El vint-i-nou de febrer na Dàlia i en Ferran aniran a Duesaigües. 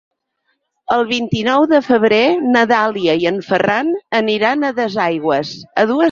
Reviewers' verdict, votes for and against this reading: rejected, 0, 4